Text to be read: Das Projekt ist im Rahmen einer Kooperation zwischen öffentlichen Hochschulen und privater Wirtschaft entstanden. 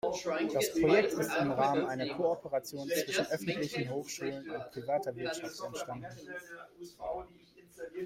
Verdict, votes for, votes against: rejected, 0, 2